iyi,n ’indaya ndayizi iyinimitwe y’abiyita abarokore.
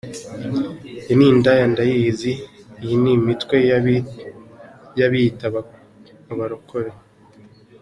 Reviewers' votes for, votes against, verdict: 2, 1, accepted